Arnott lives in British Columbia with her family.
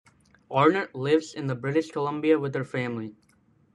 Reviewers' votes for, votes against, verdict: 1, 2, rejected